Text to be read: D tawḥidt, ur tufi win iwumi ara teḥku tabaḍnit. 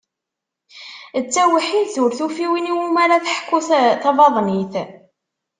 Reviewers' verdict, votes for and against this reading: rejected, 0, 2